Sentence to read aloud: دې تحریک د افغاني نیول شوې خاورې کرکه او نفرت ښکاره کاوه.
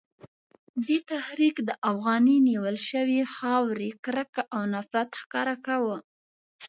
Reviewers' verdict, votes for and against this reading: accepted, 2, 0